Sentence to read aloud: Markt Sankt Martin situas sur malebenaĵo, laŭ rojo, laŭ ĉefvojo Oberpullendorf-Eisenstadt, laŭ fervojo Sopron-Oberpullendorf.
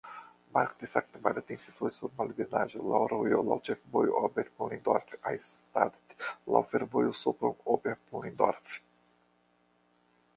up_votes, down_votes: 2, 1